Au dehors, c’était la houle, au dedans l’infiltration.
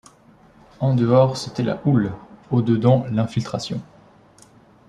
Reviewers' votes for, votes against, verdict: 0, 2, rejected